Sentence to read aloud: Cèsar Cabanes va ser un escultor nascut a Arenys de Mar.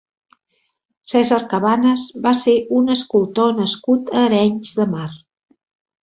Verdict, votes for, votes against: accepted, 3, 0